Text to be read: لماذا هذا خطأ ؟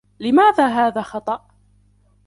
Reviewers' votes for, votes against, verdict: 2, 1, accepted